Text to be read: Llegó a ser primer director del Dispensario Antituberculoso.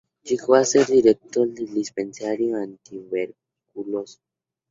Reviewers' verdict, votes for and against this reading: rejected, 0, 2